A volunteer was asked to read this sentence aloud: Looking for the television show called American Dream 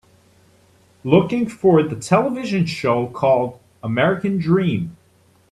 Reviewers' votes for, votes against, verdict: 3, 0, accepted